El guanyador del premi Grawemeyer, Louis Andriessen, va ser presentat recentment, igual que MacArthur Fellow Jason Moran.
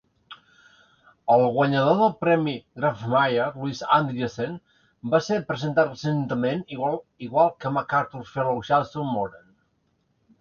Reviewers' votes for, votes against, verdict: 0, 2, rejected